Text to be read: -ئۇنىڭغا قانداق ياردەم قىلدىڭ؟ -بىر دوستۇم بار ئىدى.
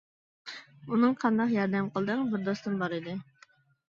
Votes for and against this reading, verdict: 2, 1, accepted